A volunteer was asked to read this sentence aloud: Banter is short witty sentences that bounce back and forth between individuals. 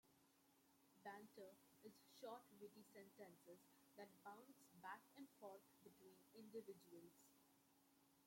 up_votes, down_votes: 0, 2